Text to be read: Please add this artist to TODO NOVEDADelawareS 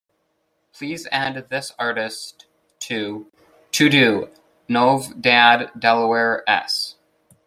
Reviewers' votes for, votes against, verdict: 2, 1, accepted